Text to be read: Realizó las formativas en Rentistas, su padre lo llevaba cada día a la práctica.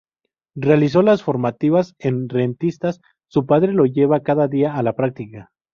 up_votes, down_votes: 0, 4